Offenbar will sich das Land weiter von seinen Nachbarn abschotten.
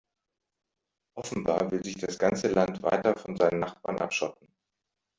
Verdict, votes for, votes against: rejected, 1, 2